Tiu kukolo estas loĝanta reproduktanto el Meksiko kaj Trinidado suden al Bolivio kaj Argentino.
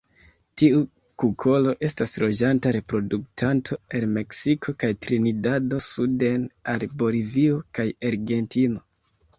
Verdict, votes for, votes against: rejected, 0, 2